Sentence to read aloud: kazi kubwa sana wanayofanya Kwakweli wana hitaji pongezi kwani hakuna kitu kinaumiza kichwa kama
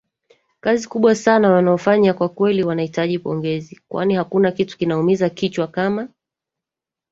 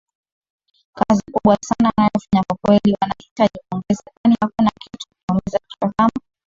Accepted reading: first